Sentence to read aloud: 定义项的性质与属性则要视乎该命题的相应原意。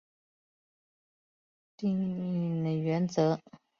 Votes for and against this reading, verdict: 0, 3, rejected